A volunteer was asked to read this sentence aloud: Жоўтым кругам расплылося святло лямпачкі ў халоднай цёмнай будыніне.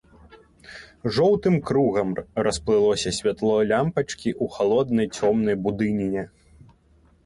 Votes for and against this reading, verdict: 3, 0, accepted